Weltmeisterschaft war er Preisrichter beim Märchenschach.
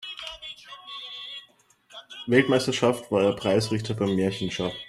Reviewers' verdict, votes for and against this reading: accepted, 2, 0